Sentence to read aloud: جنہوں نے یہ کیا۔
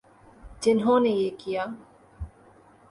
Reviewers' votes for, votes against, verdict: 2, 0, accepted